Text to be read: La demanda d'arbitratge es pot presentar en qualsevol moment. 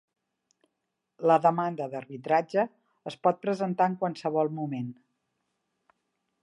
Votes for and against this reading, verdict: 2, 0, accepted